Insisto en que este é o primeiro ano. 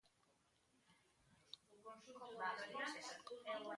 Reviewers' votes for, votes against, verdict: 0, 2, rejected